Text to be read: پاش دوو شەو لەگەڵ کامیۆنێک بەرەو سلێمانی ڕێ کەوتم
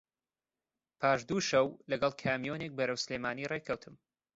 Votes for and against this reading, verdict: 2, 0, accepted